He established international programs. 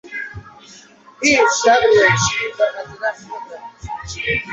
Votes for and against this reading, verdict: 0, 2, rejected